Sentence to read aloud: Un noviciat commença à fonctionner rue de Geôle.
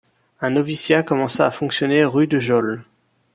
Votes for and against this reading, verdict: 2, 0, accepted